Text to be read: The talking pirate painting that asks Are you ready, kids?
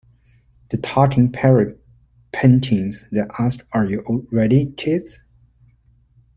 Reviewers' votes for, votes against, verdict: 1, 2, rejected